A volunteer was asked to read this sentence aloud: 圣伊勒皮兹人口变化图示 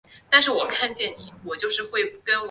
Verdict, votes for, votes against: rejected, 2, 4